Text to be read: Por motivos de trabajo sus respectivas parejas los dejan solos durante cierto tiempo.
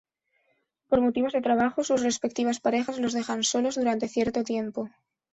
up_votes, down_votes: 2, 0